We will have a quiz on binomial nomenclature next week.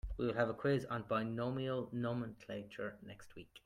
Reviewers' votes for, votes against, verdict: 2, 0, accepted